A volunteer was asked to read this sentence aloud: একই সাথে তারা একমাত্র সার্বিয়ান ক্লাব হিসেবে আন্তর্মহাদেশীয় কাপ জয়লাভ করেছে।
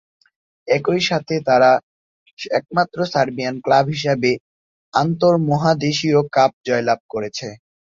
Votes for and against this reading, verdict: 1, 2, rejected